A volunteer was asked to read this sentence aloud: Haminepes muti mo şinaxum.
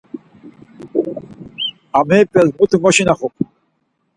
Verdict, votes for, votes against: rejected, 0, 4